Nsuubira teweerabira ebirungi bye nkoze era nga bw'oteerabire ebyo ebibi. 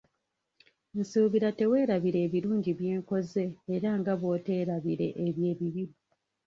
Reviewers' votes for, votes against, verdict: 1, 2, rejected